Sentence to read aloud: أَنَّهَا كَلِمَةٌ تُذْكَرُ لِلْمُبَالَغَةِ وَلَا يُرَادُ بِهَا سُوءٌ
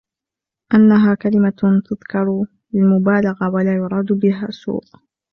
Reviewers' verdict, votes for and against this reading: rejected, 1, 2